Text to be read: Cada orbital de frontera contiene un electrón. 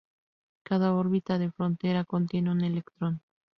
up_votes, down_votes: 2, 0